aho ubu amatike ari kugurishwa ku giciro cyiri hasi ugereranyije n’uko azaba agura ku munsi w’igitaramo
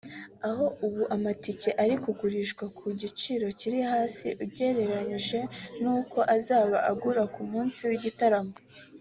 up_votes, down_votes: 2, 0